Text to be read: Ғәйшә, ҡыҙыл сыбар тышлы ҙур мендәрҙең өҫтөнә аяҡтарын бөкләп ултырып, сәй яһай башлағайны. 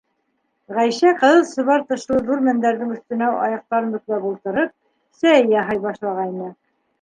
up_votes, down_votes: 3, 1